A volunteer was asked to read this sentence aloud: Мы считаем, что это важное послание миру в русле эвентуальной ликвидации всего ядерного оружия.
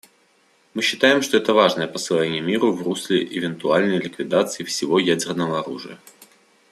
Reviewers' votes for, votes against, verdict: 2, 0, accepted